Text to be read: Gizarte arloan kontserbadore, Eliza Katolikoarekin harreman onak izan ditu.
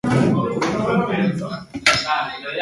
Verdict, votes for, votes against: rejected, 0, 2